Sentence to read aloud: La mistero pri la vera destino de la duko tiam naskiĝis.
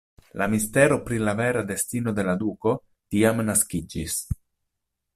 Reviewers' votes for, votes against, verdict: 2, 0, accepted